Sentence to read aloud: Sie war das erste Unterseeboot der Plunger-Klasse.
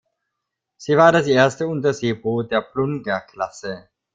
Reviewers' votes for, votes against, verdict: 0, 2, rejected